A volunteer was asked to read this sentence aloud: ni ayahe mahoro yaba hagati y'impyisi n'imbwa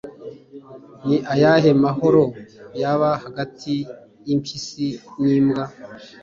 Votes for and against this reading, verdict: 2, 0, accepted